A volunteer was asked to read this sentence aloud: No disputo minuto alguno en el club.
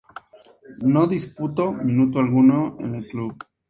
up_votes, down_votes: 2, 0